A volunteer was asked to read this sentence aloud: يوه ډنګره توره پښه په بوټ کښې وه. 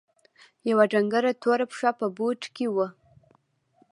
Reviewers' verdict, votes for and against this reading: accepted, 2, 0